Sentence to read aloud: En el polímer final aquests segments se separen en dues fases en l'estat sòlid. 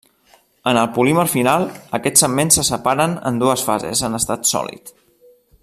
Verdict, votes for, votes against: rejected, 1, 2